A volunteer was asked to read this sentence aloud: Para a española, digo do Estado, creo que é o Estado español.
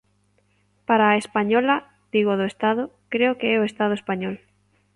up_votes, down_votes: 2, 0